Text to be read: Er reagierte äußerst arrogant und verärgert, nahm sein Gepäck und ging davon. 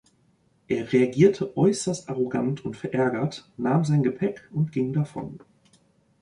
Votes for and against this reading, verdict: 2, 0, accepted